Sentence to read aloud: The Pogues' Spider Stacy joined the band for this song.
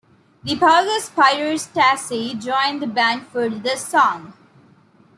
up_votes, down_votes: 0, 2